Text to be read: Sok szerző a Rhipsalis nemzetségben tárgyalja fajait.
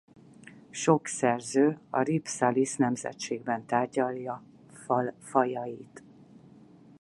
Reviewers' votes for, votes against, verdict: 0, 4, rejected